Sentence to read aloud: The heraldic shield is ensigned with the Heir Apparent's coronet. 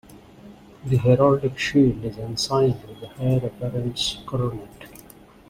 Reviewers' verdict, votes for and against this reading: accepted, 2, 0